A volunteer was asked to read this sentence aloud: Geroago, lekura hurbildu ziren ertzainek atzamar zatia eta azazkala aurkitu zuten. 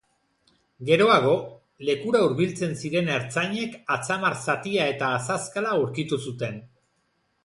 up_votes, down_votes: 1, 2